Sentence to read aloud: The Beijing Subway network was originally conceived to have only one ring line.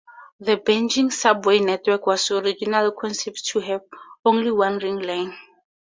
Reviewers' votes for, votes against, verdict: 0, 4, rejected